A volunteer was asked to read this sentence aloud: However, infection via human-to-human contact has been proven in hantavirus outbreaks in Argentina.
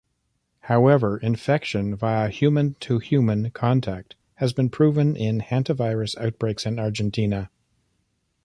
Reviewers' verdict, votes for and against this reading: accepted, 2, 0